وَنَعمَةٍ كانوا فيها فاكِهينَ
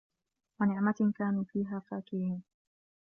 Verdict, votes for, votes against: accepted, 2, 0